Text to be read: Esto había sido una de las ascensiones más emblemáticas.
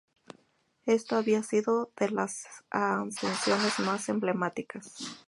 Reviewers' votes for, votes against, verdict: 0, 4, rejected